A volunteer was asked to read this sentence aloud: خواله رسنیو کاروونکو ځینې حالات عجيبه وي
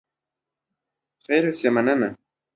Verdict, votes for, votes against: rejected, 0, 2